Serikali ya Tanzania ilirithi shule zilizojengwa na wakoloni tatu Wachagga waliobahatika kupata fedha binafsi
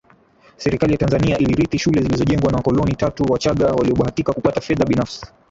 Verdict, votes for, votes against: rejected, 0, 3